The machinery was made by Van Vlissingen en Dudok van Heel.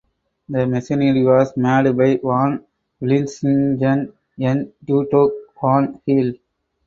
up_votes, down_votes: 0, 4